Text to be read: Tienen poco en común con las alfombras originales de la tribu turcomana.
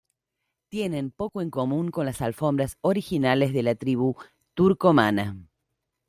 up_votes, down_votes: 2, 0